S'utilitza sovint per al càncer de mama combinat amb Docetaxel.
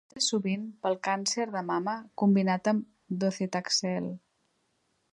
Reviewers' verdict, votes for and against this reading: rejected, 0, 4